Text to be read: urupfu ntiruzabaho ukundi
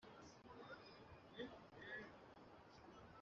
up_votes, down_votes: 0, 2